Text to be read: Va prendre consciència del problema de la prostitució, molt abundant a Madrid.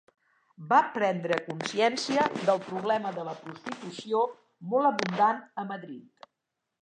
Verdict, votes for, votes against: rejected, 1, 2